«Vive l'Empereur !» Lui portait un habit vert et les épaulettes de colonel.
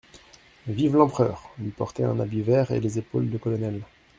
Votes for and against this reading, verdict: 0, 2, rejected